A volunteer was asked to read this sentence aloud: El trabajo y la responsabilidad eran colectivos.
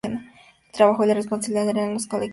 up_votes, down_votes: 2, 0